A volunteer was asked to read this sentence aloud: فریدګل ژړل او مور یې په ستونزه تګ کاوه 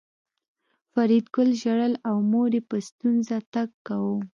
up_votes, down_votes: 2, 0